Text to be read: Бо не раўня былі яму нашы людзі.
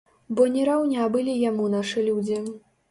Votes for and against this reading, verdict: 2, 0, accepted